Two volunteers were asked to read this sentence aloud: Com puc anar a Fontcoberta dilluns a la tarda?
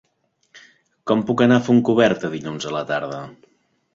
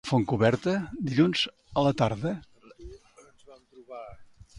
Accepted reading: first